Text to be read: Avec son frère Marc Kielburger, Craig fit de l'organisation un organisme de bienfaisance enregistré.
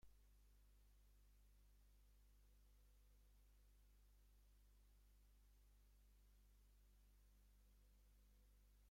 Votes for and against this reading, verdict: 0, 2, rejected